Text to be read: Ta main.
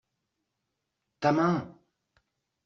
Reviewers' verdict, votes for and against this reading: accepted, 2, 0